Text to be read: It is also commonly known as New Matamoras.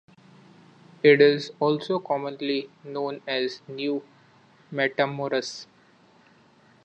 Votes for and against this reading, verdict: 2, 0, accepted